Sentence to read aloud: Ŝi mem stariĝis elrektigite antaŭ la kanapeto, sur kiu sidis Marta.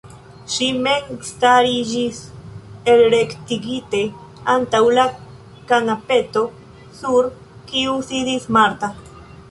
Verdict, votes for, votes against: accepted, 2, 1